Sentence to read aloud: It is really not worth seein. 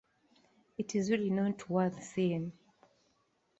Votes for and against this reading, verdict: 2, 1, accepted